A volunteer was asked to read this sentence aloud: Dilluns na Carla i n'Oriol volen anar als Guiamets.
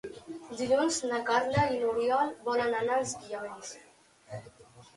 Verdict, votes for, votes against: rejected, 1, 2